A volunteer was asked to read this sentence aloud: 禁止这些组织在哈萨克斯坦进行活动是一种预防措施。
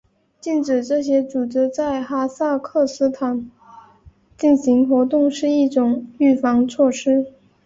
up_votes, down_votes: 4, 0